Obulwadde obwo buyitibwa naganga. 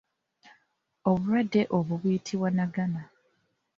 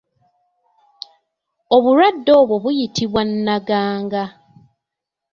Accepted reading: second